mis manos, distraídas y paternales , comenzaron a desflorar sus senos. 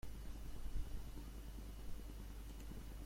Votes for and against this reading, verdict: 0, 2, rejected